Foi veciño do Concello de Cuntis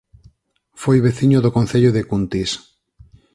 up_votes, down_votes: 4, 0